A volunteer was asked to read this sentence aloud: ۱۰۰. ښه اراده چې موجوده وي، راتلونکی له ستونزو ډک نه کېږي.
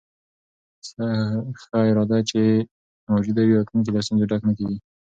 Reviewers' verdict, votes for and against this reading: rejected, 0, 2